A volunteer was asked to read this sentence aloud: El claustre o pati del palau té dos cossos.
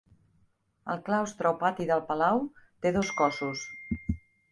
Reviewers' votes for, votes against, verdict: 0, 2, rejected